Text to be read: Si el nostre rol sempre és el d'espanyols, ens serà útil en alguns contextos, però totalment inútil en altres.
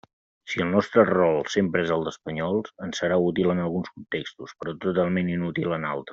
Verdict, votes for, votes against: rejected, 0, 2